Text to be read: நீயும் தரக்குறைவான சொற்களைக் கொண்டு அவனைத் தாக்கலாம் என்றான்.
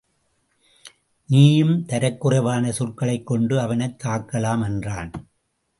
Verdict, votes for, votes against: accepted, 2, 0